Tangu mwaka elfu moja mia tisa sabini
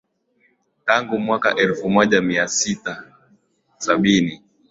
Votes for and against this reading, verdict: 2, 0, accepted